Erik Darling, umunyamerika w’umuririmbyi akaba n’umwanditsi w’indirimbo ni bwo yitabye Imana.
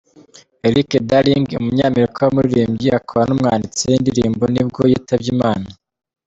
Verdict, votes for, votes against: accepted, 2, 1